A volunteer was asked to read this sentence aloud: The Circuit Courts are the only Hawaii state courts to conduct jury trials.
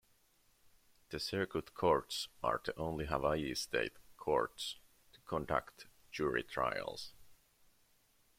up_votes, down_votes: 2, 1